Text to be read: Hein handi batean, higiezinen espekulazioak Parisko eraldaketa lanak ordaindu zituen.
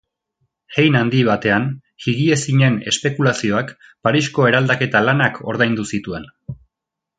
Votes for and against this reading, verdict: 2, 0, accepted